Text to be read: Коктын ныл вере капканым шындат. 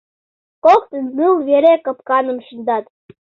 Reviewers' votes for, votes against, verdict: 2, 0, accepted